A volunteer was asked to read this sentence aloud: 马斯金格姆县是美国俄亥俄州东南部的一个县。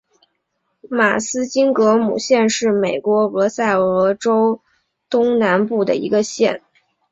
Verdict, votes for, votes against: accepted, 2, 0